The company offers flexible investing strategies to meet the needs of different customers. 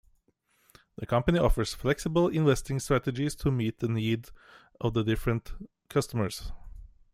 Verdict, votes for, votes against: rejected, 0, 2